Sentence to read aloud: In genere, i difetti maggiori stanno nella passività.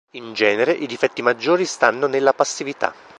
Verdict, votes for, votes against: accepted, 2, 0